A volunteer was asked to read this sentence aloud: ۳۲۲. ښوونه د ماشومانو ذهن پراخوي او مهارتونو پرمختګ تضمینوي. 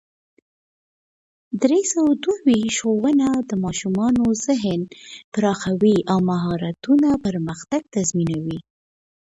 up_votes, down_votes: 0, 2